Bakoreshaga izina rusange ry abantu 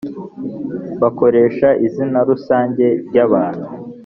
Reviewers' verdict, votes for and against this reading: accepted, 2, 0